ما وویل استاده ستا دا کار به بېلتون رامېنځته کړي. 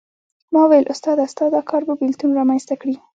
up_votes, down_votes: 2, 0